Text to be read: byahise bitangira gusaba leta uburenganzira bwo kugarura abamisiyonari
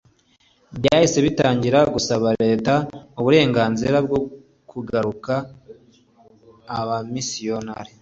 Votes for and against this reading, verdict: 2, 0, accepted